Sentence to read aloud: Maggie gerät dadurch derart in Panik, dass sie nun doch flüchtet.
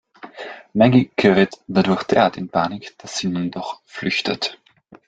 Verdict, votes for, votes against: rejected, 1, 2